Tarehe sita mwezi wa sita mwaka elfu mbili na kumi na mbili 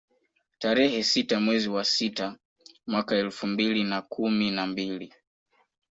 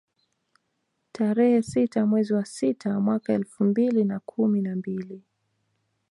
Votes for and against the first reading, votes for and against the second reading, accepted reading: 3, 1, 1, 2, first